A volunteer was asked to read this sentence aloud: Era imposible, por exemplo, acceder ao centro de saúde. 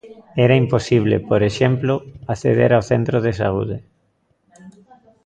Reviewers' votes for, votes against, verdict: 2, 0, accepted